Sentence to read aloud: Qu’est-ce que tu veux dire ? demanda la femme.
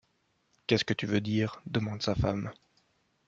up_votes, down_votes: 1, 2